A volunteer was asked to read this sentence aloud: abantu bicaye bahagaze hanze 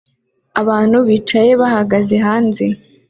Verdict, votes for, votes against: accepted, 2, 0